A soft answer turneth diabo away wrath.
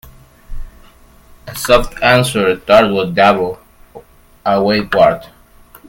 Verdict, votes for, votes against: rejected, 1, 2